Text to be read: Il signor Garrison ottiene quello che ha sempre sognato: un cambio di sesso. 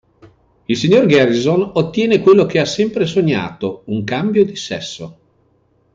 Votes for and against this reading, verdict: 2, 0, accepted